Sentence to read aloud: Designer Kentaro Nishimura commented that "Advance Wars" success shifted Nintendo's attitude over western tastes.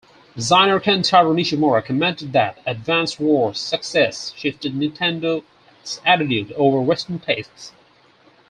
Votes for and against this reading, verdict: 2, 4, rejected